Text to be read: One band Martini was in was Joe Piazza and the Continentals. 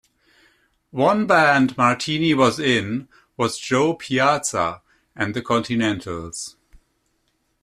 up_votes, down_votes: 2, 0